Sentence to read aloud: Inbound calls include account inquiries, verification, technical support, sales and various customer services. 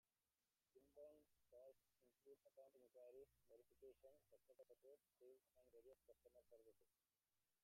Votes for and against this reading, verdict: 0, 2, rejected